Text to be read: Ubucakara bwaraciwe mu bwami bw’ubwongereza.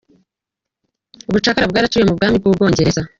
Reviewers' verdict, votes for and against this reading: rejected, 1, 2